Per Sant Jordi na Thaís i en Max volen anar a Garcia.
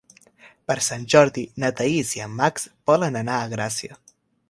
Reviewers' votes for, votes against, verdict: 0, 3, rejected